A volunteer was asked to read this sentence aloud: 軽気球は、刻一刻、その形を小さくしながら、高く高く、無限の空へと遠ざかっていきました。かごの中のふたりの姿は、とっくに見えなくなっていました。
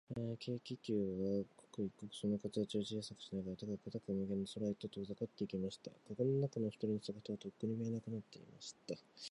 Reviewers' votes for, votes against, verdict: 0, 2, rejected